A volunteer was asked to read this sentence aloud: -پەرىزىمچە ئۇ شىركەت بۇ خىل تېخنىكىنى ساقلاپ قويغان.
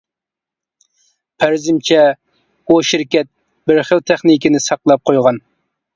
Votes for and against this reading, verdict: 0, 2, rejected